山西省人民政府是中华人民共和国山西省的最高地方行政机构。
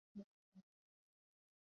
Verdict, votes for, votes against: rejected, 0, 2